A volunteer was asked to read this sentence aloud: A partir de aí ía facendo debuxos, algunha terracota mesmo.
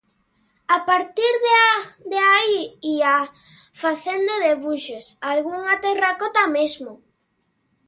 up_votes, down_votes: 0, 2